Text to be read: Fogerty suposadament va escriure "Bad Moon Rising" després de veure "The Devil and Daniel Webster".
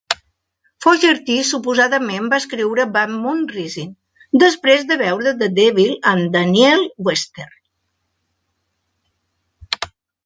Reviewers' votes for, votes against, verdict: 1, 2, rejected